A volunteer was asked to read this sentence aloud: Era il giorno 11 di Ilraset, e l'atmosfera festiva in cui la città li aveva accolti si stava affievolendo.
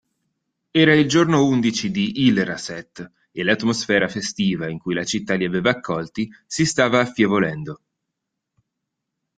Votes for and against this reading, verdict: 0, 2, rejected